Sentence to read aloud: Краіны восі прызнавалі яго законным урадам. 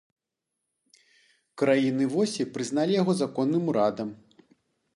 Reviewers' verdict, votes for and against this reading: rejected, 0, 2